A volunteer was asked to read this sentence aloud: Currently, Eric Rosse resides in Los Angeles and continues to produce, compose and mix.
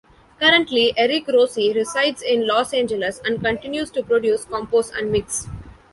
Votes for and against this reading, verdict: 2, 0, accepted